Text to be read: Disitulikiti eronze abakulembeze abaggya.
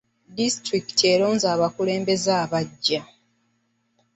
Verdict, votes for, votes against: accepted, 2, 0